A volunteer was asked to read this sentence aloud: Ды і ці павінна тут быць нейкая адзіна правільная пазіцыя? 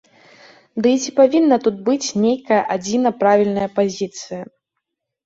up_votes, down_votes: 2, 0